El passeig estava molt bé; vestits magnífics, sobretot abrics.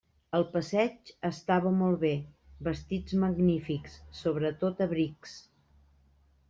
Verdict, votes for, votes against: accepted, 2, 0